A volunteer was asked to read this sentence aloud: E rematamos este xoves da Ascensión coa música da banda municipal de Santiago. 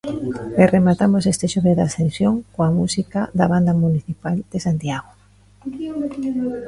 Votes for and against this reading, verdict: 0, 2, rejected